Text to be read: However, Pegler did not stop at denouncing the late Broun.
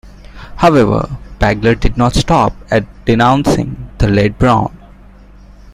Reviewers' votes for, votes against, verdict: 2, 1, accepted